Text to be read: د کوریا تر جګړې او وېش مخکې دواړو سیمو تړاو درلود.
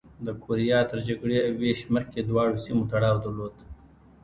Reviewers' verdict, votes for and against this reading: rejected, 1, 2